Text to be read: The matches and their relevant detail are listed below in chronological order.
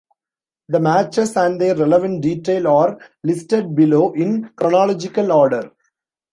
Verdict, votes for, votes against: accepted, 2, 1